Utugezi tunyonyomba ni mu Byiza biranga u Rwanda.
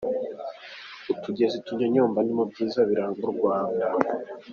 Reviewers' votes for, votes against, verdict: 2, 0, accepted